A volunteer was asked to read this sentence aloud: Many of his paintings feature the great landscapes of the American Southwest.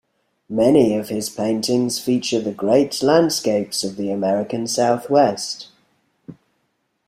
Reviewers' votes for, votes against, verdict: 2, 1, accepted